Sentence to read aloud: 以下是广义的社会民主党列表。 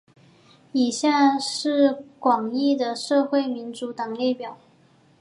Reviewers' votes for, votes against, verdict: 4, 0, accepted